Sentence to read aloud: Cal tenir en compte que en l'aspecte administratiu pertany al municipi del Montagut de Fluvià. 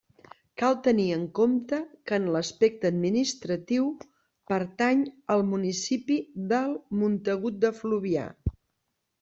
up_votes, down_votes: 2, 0